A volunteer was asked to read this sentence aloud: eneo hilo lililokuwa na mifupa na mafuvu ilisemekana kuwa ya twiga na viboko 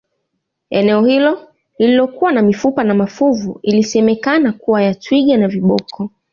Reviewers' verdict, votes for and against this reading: accepted, 2, 1